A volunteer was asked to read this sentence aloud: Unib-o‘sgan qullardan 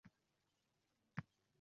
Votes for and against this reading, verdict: 0, 2, rejected